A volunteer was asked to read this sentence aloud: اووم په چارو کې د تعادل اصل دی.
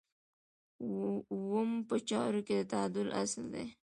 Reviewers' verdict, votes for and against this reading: accepted, 2, 0